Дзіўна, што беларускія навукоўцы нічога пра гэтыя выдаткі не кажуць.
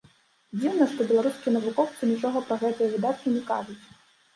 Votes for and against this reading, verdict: 1, 2, rejected